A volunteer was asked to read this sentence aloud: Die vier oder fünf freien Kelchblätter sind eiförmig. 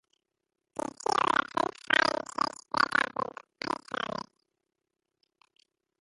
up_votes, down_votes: 0, 3